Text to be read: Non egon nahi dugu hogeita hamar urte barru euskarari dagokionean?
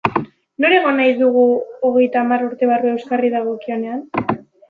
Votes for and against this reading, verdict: 1, 2, rejected